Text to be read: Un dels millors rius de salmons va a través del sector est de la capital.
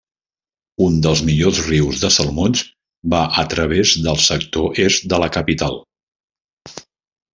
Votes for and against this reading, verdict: 2, 0, accepted